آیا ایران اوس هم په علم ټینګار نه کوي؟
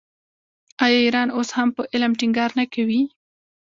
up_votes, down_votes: 1, 2